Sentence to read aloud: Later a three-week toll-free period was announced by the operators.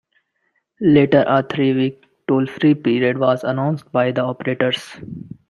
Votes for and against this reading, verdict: 2, 0, accepted